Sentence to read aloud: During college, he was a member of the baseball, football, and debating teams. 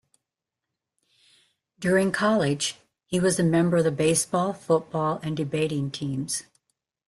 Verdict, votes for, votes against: accepted, 2, 0